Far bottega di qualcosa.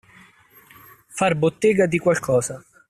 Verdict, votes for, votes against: accepted, 2, 0